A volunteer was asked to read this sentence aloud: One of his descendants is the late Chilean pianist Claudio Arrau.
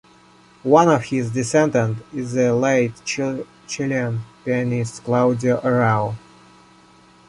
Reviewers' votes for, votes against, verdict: 0, 2, rejected